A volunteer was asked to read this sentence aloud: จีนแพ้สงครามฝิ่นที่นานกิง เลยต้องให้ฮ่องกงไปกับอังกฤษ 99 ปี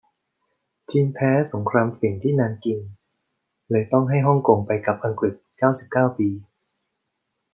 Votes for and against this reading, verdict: 0, 2, rejected